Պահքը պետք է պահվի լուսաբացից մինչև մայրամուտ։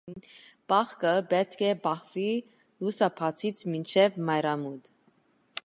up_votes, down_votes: 2, 1